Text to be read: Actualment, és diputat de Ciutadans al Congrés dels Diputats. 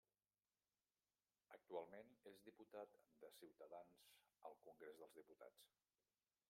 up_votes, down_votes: 0, 2